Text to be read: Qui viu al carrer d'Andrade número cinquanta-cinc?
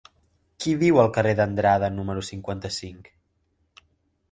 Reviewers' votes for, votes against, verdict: 2, 0, accepted